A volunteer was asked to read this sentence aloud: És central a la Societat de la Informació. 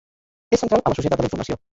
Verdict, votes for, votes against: rejected, 0, 2